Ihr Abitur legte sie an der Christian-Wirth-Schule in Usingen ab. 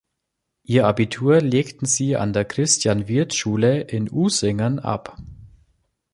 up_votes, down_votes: 1, 2